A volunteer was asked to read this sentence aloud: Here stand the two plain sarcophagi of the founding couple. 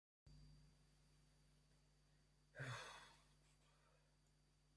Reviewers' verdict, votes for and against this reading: rejected, 0, 2